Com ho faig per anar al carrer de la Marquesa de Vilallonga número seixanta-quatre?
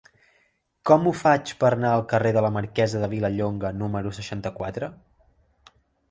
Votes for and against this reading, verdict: 1, 2, rejected